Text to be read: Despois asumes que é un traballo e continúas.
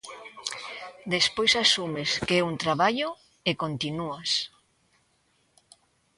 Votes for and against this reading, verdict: 2, 0, accepted